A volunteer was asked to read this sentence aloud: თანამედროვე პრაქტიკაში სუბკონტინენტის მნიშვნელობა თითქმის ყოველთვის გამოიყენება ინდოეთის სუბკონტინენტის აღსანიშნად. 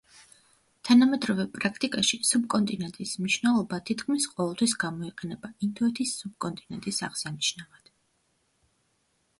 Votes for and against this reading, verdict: 1, 2, rejected